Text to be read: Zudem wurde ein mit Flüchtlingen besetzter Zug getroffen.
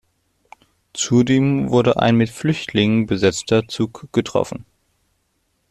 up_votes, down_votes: 2, 0